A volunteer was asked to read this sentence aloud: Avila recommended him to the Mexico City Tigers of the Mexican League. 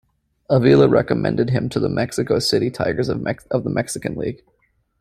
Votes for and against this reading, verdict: 0, 2, rejected